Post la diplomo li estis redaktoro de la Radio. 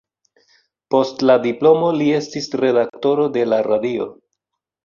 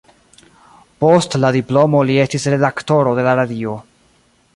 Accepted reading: first